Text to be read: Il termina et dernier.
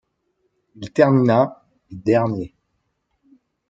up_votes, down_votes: 1, 2